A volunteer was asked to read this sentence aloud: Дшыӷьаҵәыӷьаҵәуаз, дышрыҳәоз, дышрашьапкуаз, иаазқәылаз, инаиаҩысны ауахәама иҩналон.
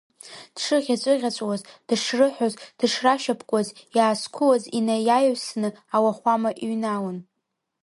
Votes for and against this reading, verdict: 2, 1, accepted